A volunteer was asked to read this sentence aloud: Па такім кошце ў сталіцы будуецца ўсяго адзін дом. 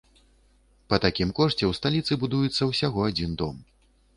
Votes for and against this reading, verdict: 2, 0, accepted